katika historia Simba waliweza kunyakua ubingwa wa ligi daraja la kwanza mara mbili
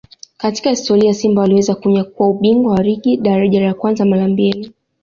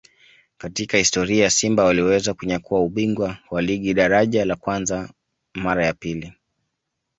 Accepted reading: first